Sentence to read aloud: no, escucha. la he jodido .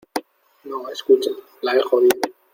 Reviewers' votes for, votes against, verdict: 0, 2, rejected